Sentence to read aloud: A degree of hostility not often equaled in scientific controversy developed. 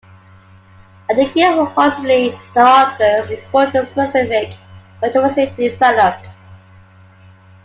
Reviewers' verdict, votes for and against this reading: rejected, 0, 2